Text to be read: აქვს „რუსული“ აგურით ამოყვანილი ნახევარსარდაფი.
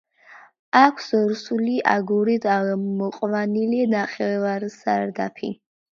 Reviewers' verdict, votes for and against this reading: accepted, 2, 1